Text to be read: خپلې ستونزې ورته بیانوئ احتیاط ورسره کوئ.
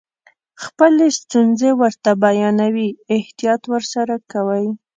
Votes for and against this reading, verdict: 2, 0, accepted